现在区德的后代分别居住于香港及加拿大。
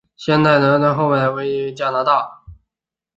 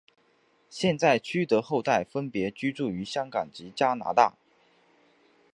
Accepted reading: second